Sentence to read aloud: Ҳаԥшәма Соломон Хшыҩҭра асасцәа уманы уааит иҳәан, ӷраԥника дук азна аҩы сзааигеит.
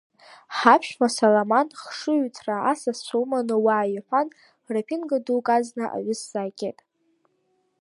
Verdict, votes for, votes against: rejected, 1, 2